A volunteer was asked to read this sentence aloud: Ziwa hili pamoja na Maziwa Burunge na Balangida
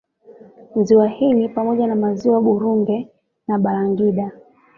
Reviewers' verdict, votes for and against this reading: accepted, 2, 1